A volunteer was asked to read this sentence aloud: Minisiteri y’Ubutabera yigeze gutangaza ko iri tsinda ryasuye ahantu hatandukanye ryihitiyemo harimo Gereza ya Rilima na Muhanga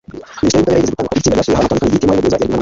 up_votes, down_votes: 1, 2